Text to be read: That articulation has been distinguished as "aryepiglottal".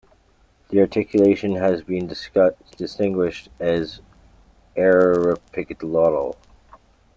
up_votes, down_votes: 1, 2